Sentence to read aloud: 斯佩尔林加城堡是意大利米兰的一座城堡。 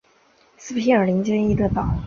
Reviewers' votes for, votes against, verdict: 0, 4, rejected